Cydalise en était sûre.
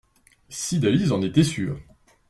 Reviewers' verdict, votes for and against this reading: accepted, 2, 0